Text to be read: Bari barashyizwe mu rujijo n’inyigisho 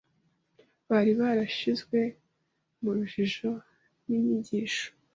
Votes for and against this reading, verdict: 2, 0, accepted